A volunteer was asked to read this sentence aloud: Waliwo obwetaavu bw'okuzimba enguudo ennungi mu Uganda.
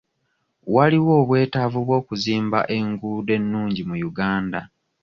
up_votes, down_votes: 2, 0